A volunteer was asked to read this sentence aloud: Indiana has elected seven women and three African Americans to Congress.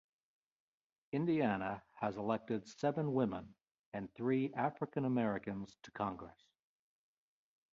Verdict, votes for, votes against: accepted, 2, 0